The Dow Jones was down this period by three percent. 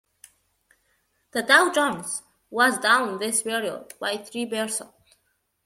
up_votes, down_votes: 1, 2